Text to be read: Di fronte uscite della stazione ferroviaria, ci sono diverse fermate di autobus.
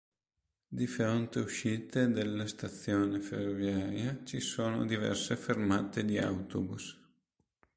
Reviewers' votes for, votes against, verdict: 2, 0, accepted